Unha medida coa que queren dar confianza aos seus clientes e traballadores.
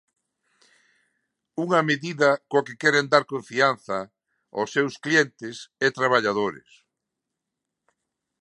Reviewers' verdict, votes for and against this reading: accepted, 2, 1